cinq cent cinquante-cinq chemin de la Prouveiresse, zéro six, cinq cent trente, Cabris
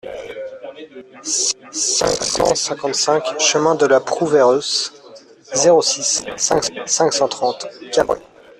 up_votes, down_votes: 1, 2